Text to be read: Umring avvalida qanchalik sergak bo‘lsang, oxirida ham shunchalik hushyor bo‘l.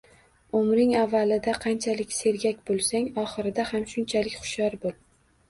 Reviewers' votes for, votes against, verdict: 2, 0, accepted